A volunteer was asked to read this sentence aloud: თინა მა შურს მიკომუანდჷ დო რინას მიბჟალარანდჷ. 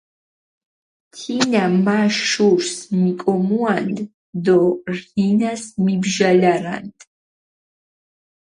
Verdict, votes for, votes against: accepted, 4, 0